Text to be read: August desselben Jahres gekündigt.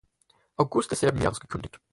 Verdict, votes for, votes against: accepted, 4, 0